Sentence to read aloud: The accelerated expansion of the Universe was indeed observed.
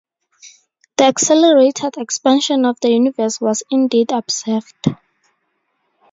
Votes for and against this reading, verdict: 2, 0, accepted